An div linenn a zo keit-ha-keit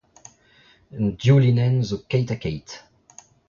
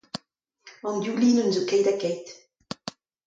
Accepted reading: second